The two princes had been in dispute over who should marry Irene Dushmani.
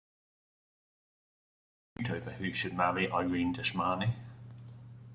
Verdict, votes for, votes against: rejected, 0, 2